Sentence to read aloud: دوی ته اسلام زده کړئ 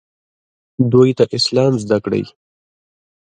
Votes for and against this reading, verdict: 0, 2, rejected